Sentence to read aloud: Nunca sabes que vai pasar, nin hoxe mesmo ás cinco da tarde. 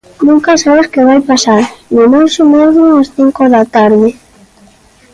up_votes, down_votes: 2, 0